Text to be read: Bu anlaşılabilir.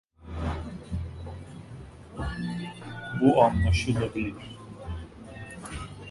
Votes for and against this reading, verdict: 1, 2, rejected